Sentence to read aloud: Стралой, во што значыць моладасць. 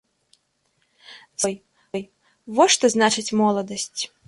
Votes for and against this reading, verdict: 0, 2, rejected